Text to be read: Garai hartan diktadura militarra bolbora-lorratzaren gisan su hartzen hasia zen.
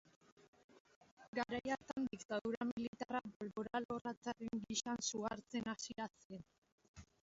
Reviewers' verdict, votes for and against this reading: rejected, 1, 3